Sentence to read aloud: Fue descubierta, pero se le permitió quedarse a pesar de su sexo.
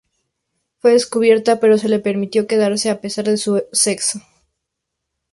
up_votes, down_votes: 2, 0